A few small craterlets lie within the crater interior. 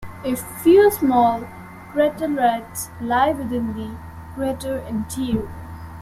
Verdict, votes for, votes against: accepted, 2, 0